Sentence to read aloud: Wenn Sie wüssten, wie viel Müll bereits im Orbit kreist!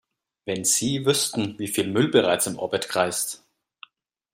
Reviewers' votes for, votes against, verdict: 2, 0, accepted